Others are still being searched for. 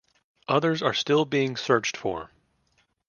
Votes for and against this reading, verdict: 2, 0, accepted